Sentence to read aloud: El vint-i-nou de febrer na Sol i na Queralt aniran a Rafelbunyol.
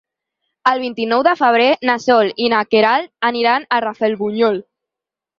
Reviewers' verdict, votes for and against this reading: accepted, 6, 0